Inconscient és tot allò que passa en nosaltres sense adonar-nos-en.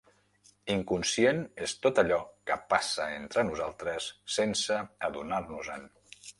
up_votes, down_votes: 0, 2